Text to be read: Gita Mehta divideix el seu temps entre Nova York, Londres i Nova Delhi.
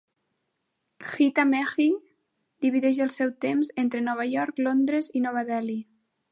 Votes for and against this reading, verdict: 0, 2, rejected